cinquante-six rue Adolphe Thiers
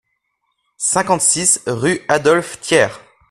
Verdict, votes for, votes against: accepted, 2, 0